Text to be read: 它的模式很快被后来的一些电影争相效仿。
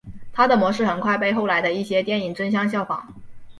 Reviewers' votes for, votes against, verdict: 3, 0, accepted